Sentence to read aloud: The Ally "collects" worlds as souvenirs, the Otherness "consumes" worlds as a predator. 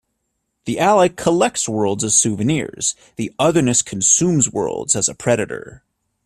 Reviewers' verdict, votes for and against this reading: accepted, 2, 0